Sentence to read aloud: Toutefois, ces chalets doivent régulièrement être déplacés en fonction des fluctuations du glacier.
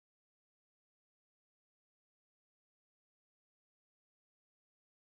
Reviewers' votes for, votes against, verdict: 0, 2, rejected